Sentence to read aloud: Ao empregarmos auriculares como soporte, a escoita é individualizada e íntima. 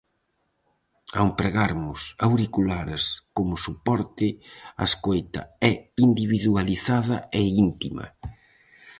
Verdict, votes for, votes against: accepted, 4, 0